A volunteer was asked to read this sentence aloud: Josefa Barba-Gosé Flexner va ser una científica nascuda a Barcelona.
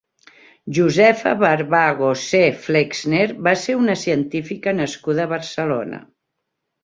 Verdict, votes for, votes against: rejected, 1, 2